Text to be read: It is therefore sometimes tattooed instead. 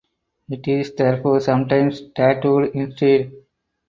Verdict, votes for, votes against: accepted, 4, 0